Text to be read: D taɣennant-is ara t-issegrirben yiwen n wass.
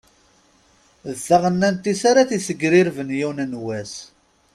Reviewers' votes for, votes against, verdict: 2, 0, accepted